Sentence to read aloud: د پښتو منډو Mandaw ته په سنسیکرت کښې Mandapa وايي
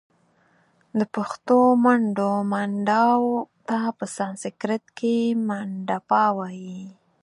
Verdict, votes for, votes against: rejected, 0, 4